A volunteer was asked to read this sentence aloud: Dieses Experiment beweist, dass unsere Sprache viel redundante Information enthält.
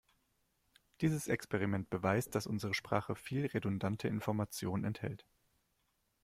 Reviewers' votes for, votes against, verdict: 0, 2, rejected